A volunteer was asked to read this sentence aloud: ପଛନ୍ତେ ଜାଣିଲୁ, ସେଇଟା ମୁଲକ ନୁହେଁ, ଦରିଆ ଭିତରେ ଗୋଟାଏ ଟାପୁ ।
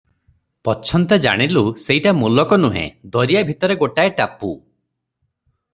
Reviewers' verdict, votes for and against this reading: accepted, 3, 0